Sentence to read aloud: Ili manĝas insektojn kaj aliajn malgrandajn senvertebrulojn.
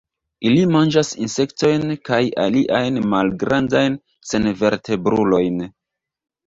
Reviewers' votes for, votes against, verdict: 2, 1, accepted